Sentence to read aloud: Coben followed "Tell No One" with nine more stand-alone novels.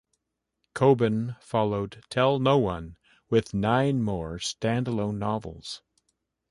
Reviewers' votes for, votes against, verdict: 2, 0, accepted